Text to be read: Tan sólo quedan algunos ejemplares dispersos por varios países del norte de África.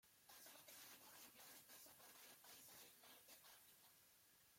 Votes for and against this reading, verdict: 0, 2, rejected